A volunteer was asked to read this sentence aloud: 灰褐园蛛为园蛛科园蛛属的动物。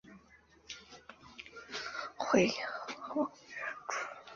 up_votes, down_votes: 1, 2